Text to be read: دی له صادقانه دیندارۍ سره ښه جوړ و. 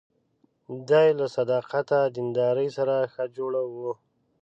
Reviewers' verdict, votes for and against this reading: rejected, 0, 2